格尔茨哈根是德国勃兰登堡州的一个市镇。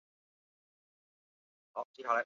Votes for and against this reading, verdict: 2, 2, rejected